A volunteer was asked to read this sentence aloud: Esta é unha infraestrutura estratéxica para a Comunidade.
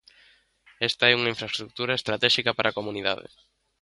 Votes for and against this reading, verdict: 2, 0, accepted